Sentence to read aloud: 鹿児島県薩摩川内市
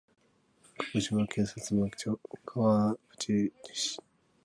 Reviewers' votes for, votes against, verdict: 1, 2, rejected